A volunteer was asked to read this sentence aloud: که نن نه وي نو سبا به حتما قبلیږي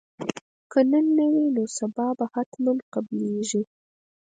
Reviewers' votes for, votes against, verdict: 2, 4, rejected